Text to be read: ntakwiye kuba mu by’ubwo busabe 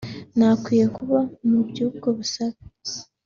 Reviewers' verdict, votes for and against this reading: accepted, 2, 0